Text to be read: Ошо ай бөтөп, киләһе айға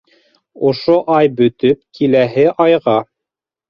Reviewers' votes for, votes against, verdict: 2, 0, accepted